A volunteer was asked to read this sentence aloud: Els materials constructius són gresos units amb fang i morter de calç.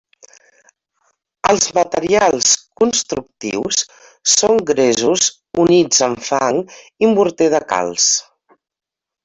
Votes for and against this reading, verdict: 3, 0, accepted